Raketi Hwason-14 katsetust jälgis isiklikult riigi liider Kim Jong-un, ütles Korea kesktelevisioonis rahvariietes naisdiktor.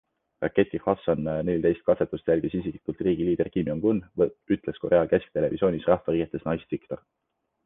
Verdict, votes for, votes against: rejected, 0, 2